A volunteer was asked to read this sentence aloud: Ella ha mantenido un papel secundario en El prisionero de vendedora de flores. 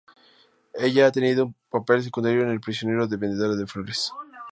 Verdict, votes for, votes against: rejected, 0, 2